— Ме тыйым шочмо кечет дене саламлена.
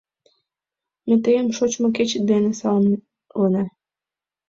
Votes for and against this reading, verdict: 1, 2, rejected